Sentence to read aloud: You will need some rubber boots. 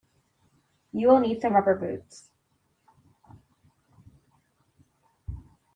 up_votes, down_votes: 2, 0